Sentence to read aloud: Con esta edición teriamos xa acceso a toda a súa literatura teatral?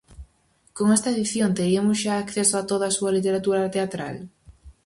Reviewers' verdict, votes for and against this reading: rejected, 0, 4